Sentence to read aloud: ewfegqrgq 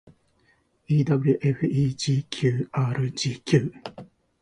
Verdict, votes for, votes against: rejected, 1, 2